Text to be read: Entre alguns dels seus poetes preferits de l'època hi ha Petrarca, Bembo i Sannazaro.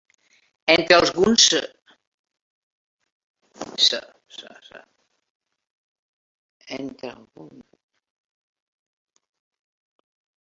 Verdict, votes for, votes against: rejected, 0, 2